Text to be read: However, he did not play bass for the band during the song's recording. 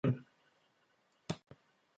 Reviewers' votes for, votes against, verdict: 0, 2, rejected